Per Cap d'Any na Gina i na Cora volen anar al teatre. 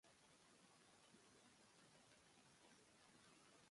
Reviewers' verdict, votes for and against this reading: rejected, 0, 2